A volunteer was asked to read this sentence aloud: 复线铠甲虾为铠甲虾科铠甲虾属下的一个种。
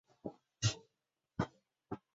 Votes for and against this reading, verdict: 0, 2, rejected